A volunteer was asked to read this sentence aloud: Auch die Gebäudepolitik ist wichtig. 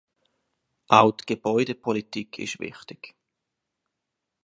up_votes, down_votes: 0, 2